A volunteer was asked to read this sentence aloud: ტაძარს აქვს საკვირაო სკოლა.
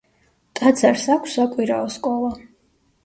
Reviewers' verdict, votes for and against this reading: rejected, 1, 2